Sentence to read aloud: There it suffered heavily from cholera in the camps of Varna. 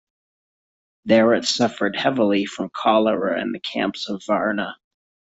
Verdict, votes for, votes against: accepted, 2, 1